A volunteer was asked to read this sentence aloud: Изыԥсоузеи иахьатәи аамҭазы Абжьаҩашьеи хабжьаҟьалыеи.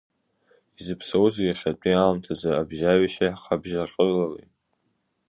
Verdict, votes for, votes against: rejected, 1, 2